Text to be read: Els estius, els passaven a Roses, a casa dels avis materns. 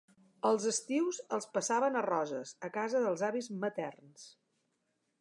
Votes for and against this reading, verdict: 4, 0, accepted